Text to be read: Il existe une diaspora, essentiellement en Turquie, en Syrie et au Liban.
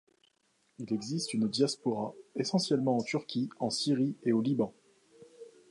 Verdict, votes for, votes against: accepted, 2, 0